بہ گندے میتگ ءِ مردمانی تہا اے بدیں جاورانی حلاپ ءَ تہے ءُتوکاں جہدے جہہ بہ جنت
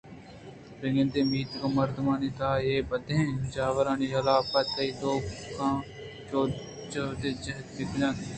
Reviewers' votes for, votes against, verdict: 0, 2, rejected